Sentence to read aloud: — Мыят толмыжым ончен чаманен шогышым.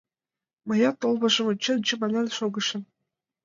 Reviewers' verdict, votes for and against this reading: accepted, 2, 1